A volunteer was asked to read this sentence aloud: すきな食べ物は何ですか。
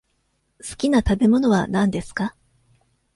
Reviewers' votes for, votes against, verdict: 2, 0, accepted